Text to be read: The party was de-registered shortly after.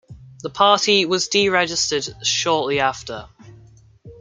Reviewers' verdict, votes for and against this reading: accepted, 2, 0